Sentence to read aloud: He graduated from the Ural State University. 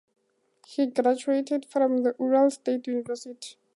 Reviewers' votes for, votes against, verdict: 2, 0, accepted